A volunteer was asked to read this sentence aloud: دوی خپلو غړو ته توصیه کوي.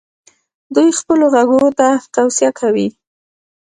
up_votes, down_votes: 2, 0